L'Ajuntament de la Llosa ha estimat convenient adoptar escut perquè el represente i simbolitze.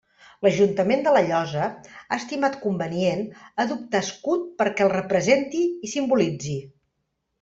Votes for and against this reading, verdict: 0, 2, rejected